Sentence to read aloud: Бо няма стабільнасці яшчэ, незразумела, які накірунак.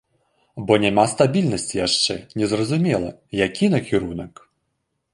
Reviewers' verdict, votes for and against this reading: accepted, 2, 0